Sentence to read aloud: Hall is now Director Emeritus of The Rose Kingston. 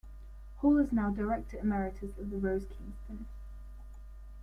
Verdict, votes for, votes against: accepted, 2, 1